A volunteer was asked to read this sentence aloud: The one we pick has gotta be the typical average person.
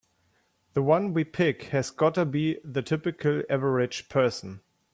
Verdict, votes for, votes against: accepted, 2, 0